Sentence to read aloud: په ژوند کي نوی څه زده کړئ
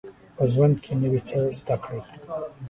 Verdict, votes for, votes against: accepted, 2, 0